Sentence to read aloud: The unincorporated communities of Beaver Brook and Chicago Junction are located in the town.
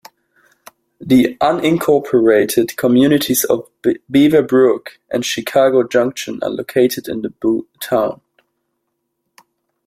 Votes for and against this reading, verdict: 1, 2, rejected